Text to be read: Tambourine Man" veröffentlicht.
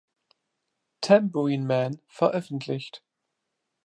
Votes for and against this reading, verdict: 2, 0, accepted